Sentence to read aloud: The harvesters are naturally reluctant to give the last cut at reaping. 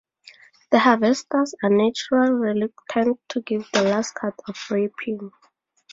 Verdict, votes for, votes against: rejected, 2, 2